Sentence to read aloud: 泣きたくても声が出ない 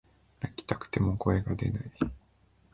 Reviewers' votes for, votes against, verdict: 2, 0, accepted